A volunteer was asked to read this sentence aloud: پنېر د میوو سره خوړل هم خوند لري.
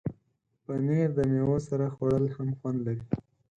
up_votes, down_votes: 4, 0